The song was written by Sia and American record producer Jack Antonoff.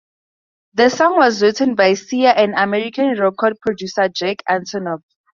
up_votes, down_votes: 2, 0